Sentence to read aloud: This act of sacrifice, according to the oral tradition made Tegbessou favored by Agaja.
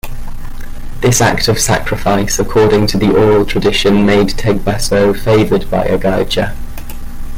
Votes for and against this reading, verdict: 2, 0, accepted